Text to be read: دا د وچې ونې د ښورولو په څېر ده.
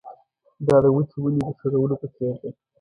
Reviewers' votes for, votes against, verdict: 0, 2, rejected